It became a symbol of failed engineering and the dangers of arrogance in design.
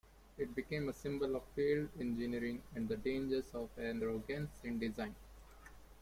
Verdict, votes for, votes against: accepted, 2, 0